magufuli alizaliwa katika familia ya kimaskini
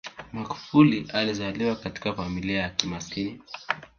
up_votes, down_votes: 1, 2